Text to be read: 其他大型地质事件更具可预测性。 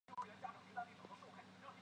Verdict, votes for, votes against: rejected, 0, 2